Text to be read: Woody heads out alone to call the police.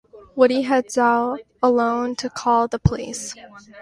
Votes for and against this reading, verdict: 2, 0, accepted